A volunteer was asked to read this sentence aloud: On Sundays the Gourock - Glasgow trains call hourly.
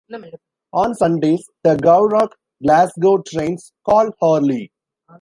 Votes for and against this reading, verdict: 1, 2, rejected